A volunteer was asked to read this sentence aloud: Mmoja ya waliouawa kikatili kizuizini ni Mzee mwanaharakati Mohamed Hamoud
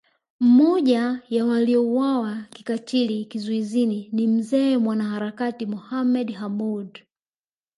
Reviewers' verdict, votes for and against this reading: accepted, 2, 0